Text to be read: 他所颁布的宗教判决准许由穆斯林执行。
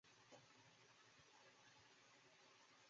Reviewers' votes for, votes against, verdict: 1, 2, rejected